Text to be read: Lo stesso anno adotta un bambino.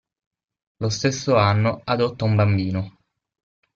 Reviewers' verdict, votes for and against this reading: accepted, 6, 0